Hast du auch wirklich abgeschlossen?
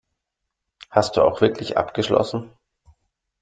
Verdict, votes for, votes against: accepted, 2, 0